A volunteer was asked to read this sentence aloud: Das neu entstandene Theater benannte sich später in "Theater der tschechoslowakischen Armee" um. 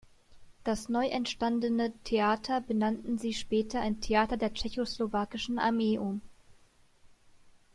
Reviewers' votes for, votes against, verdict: 1, 2, rejected